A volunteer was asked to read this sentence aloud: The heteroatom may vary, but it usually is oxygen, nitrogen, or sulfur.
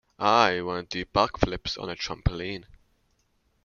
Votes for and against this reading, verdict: 1, 2, rejected